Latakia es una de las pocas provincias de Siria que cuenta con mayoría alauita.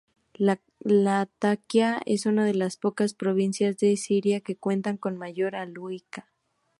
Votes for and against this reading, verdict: 0, 2, rejected